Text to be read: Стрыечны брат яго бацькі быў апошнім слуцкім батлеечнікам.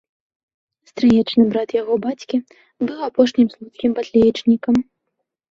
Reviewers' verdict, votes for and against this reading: accepted, 2, 0